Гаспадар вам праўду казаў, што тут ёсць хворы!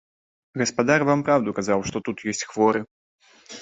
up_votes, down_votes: 1, 2